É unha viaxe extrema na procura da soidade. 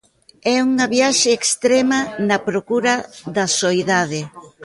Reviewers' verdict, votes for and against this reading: rejected, 1, 2